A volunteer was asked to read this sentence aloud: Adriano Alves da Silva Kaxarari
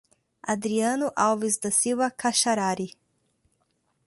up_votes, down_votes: 2, 0